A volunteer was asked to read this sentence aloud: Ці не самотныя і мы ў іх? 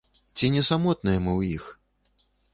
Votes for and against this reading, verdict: 1, 2, rejected